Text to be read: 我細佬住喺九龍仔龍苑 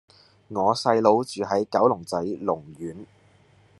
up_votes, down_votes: 2, 0